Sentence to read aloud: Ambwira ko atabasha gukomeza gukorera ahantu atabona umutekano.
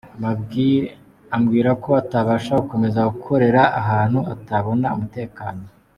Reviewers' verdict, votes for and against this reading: rejected, 1, 2